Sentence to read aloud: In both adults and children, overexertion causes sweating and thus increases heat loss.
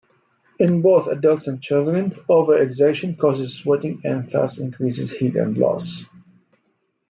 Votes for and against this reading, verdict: 1, 2, rejected